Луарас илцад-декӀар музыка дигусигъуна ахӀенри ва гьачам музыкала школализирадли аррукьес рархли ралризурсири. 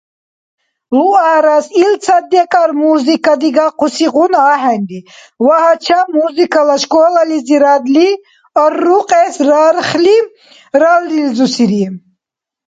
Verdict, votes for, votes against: accepted, 2, 0